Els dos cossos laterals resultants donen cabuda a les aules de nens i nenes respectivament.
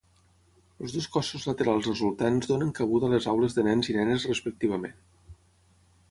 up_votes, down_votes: 3, 3